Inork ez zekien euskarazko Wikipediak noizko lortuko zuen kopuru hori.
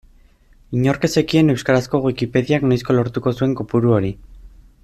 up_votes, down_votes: 2, 0